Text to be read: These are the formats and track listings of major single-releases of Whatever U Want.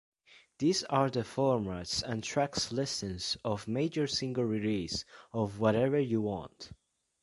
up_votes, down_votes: 1, 2